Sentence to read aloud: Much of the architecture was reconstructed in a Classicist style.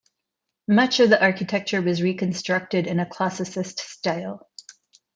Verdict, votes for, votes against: accepted, 2, 0